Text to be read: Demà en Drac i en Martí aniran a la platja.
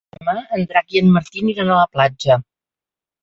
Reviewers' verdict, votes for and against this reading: rejected, 0, 2